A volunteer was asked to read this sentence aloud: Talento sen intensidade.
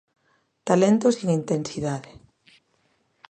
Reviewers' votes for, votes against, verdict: 0, 2, rejected